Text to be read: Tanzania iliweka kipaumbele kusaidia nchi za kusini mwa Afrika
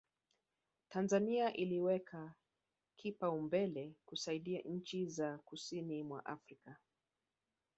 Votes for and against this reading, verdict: 0, 2, rejected